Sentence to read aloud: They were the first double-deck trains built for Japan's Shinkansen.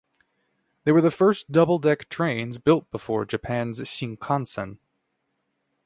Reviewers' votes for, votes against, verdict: 0, 6, rejected